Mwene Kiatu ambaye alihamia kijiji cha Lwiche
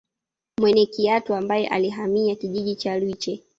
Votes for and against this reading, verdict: 1, 2, rejected